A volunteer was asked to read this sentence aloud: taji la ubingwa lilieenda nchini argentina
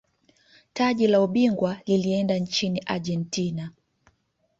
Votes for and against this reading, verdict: 1, 2, rejected